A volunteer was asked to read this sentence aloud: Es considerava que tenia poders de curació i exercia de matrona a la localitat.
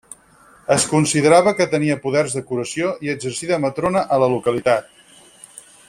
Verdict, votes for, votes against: rejected, 0, 4